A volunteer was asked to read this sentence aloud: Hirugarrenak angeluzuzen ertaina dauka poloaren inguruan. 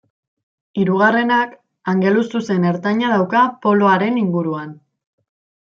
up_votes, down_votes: 2, 0